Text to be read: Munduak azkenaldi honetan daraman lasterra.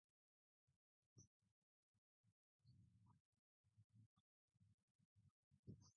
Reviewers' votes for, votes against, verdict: 0, 2, rejected